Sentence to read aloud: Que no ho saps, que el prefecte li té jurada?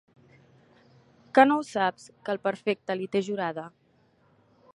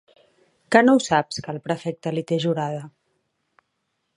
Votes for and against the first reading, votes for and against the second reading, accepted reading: 0, 2, 2, 0, second